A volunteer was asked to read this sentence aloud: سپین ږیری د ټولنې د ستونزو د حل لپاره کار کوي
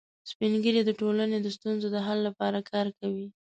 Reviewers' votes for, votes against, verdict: 2, 0, accepted